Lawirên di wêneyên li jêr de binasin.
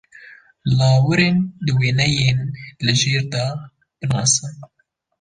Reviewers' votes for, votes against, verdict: 2, 0, accepted